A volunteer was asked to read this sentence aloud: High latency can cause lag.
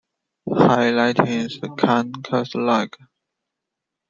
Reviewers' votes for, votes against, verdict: 2, 0, accepted